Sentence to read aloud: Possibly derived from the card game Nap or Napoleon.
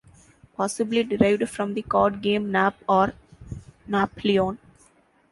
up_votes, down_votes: 0, 2